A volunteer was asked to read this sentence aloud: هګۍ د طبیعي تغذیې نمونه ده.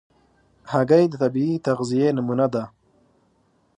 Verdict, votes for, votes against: accepted, 2, 0